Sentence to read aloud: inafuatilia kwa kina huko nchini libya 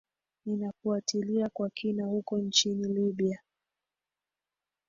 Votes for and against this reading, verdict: 1, 2, rejected